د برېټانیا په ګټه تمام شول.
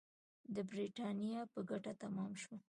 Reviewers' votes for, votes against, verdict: 2, 0, accepted